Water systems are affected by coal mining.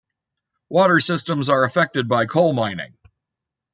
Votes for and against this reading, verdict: 2, 0, accepted